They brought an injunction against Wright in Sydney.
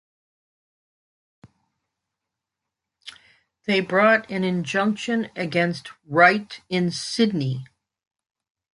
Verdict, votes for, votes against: accepted, 2, 0